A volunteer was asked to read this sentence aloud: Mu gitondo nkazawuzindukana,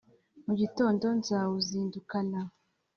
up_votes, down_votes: 3, 0